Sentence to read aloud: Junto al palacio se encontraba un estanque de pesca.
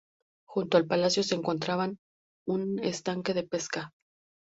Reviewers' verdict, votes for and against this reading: rejected, 2, 2